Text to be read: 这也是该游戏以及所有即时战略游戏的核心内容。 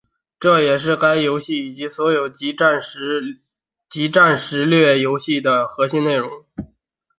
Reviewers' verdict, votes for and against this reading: rejected, 2, 4